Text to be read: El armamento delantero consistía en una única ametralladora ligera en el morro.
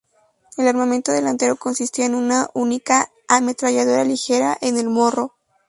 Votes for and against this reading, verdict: 0, 2, rejected